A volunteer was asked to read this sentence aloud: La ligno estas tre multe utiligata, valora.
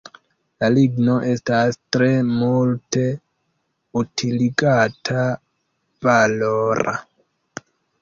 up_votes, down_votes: 0, 2